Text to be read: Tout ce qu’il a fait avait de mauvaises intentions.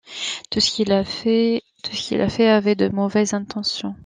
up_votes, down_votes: 1, 2